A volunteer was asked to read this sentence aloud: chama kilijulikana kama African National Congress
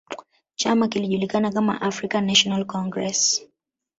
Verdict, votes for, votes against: rejected, 1, 2